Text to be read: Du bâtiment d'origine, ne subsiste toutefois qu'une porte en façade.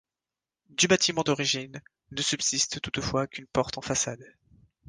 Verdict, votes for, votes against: accepted, 3, 0